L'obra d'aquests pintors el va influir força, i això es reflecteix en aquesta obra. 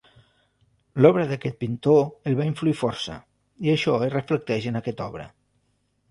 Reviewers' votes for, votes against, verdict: 1, 2, rejected